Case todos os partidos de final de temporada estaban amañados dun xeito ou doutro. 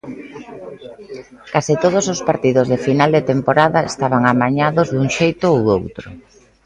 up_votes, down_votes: 2, 0